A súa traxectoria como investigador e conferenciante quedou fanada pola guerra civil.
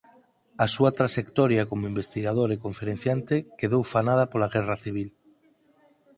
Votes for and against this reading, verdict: 4, 2, accepted